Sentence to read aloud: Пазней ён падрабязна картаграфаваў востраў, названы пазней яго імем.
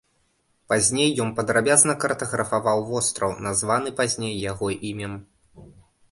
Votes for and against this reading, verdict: 2, 0, accepted